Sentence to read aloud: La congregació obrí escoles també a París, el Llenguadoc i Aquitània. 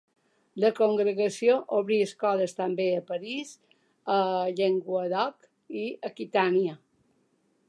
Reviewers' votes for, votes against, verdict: 2, 0, accepted